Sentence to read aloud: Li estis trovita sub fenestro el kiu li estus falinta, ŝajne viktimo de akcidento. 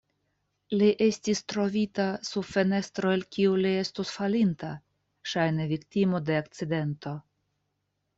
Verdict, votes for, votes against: accepted, 2, 0